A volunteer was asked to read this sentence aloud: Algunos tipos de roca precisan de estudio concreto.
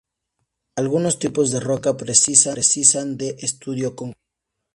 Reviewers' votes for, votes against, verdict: 0, 2, rejected